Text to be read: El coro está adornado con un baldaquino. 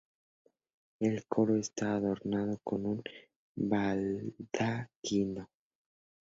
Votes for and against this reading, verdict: 0, 2, rejected